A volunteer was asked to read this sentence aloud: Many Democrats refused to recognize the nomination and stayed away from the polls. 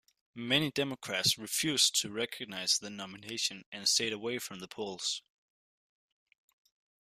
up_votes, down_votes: 2, 0